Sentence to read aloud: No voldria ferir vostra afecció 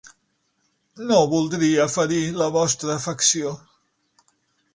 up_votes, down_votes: 3, 6